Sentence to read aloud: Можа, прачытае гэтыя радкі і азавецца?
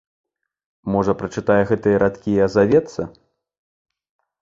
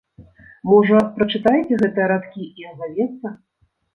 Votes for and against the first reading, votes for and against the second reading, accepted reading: 2, 0, 1, 2, first